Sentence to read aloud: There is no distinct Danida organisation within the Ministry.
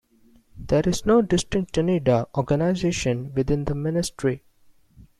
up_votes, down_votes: 2, 0